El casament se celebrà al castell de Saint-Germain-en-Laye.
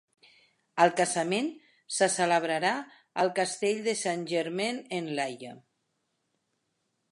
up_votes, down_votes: 1, 2